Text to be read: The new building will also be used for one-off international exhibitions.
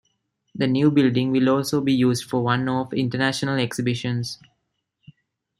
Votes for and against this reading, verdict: 2, 0, accepted